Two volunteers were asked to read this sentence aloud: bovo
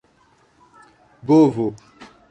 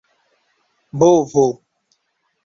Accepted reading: second